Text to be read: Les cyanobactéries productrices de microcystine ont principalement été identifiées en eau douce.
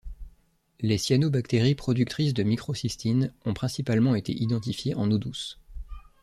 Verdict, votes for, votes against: accepted, 2, 0